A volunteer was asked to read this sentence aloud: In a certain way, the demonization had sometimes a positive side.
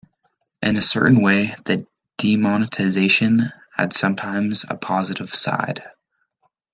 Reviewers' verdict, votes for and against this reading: rejected, 1, 2